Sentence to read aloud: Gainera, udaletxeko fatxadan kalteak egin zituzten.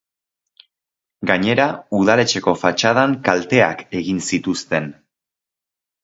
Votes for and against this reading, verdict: 4, 0, accepted